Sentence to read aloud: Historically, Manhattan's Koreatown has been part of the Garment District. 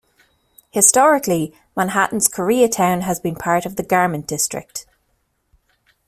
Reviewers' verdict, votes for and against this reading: accepted, 2, 0